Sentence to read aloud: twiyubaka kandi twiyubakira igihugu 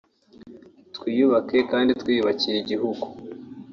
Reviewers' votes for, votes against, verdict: 0, 2, rejected